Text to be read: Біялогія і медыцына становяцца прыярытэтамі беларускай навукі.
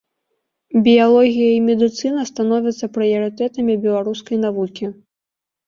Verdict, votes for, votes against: accepted, 2, 0